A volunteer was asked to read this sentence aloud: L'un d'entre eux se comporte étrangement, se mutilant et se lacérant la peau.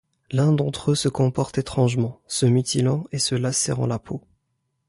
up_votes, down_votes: 2, 0